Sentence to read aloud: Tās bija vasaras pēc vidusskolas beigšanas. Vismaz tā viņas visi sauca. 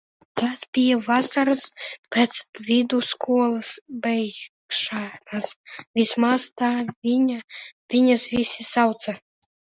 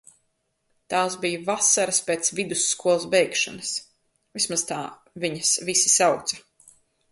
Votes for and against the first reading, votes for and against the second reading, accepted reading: 0, 3, 2, 1, second